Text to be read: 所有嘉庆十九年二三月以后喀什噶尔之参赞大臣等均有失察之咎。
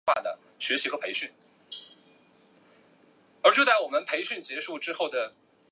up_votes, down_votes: 1, 2